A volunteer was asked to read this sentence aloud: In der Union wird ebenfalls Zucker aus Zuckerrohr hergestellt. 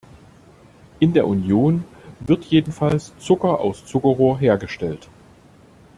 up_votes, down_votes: 1, 2